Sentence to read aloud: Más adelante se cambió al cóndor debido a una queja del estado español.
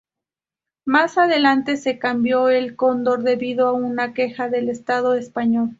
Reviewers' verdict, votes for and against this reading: rejected, 0, 2